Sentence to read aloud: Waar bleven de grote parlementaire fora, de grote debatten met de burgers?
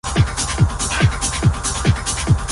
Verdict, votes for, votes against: rejected, 0, 2